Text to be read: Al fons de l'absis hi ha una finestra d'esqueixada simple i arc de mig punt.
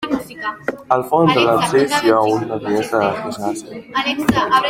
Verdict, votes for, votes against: rejected, 0, 2